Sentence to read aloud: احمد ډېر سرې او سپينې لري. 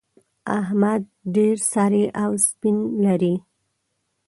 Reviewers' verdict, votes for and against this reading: rejected, 0, 2